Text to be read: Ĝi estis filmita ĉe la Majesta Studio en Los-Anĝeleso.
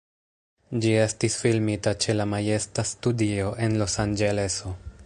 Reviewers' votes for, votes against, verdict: 1, 2, rejected